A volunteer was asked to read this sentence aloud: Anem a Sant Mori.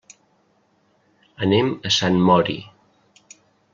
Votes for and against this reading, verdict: 3, 0, accepted